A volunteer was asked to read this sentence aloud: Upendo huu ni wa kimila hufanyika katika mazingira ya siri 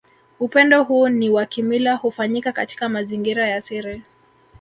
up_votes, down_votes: 1, 2